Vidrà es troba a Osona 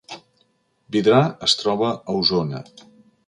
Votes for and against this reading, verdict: 2, 0, accepted